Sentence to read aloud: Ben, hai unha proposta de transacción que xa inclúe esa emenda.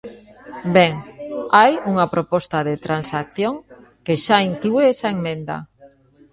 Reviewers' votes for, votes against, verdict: 0, 2, rejected